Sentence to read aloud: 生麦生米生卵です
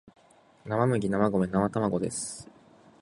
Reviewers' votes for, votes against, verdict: 2, 0, accepted